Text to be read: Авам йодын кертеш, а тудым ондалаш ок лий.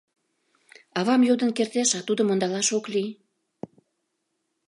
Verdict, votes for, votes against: accepted, 2, 0